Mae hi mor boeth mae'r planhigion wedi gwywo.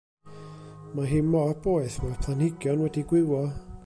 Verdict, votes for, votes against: accepted, 2, 0